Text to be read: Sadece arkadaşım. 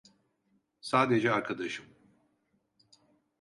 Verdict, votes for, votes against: accepted, 2, 0